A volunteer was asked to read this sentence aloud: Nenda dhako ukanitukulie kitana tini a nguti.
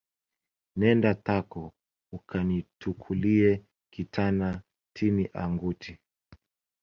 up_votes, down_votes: 1, 2